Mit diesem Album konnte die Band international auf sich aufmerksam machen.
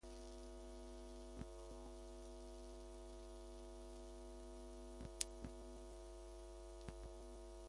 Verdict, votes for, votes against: rejected, 0, 2